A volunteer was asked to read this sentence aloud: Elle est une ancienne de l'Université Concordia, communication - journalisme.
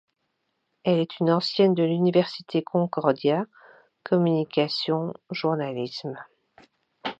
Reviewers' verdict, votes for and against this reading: accepted, 2, 0